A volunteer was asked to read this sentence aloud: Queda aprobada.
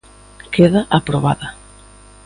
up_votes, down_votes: 2, 0